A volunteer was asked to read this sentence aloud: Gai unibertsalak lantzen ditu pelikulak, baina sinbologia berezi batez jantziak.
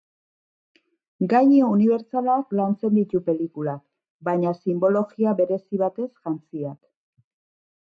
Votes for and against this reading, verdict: 0, 2, rejected